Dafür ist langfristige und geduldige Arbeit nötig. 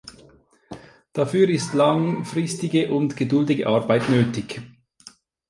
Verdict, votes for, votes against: accepted, 2, 0